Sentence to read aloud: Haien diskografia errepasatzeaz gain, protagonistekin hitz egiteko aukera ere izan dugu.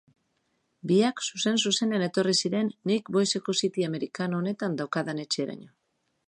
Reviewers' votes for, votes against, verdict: 1, 2, rejected